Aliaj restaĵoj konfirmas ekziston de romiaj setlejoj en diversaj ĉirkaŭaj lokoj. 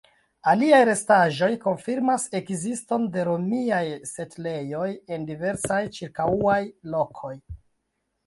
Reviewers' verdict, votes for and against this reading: rejected, 1, 2